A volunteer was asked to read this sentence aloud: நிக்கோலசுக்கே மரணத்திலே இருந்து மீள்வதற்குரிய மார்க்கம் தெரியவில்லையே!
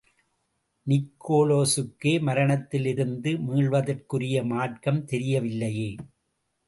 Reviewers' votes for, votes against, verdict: 2, 0, accepted